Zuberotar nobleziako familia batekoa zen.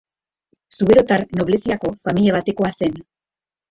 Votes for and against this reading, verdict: 2, 0, accepted